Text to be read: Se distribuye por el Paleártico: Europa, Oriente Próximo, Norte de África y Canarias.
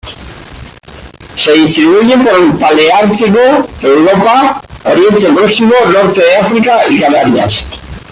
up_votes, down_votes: 0, 2